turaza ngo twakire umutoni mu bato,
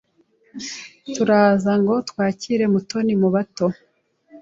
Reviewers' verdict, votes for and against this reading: rejected, 1, 2